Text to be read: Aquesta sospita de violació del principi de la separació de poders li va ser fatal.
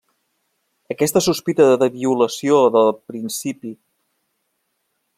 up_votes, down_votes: 0, 2